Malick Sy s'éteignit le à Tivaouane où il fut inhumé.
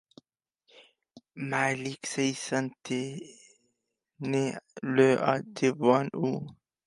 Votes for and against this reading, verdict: 0, 2, rejected